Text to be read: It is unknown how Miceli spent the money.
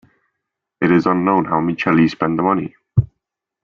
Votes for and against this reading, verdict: 3, 0, accepted